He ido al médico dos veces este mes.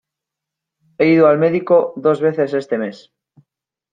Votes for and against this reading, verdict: 2, 0, accepted